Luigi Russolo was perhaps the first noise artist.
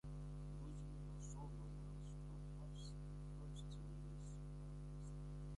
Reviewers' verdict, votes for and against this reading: rejected, 0, 2